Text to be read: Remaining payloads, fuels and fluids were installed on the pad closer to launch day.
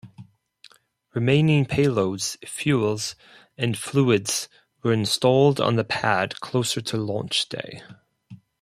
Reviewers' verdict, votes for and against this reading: accepted, 4, 0